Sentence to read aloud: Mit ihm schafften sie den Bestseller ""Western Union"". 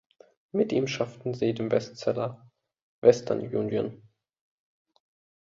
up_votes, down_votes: 2, 0